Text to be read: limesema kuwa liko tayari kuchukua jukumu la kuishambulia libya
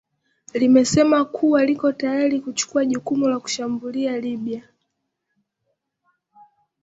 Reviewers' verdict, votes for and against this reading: rejected, 0, 2